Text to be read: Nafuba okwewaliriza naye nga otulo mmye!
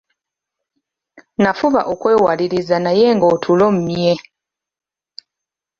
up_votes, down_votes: 2, 0